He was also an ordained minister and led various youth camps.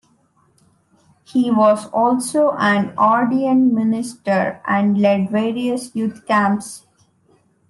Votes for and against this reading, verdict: 2, 1, accepted